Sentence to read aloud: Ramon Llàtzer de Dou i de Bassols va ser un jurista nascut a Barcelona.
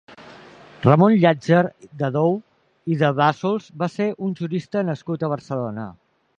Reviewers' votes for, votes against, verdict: 2, 0, accepted